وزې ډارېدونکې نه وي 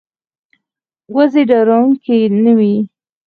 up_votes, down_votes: 4, 2